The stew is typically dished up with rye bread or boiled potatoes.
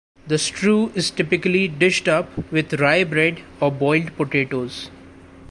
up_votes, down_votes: 2, 0